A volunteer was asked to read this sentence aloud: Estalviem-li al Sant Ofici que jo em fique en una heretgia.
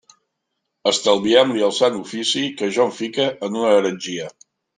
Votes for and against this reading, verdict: 0, 2, rejected